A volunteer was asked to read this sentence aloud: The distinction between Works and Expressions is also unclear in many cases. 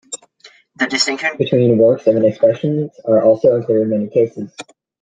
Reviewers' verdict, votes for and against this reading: rejected, 0, 2